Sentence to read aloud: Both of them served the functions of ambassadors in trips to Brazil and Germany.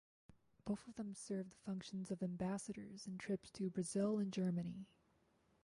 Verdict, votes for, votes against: rejected, 2, 4